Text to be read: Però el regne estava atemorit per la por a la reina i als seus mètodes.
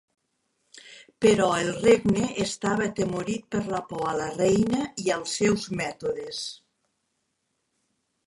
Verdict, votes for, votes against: accepted, 3, 1